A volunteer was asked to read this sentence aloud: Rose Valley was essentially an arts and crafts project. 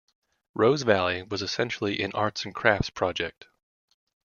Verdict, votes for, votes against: accepted, 2, 0